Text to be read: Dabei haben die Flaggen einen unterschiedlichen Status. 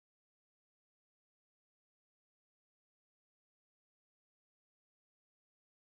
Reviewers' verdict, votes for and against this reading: rejected, 0, 2